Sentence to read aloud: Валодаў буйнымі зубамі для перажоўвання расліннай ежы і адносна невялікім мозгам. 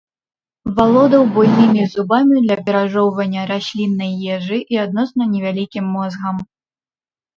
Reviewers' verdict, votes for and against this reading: rejected, 0, 2